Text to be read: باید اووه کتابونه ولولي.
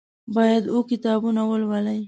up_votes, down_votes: 2, 1